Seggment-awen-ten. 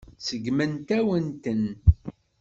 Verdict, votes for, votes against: rejected, 1, 2